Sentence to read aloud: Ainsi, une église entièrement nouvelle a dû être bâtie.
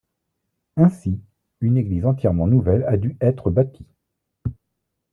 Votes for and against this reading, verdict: 1, 2, rejected